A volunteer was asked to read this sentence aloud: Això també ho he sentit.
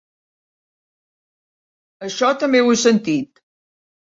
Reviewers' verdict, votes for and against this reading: accepted, 4, 0